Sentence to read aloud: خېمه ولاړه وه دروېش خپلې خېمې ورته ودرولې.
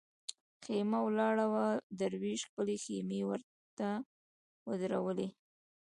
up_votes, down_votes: 2, 1